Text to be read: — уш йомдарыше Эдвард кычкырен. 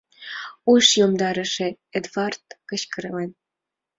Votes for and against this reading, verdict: 2, 1, accepted